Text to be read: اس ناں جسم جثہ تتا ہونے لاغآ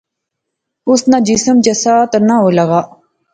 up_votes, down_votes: 1, 2